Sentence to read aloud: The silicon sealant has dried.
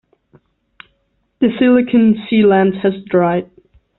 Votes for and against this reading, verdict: 1, 2, rejected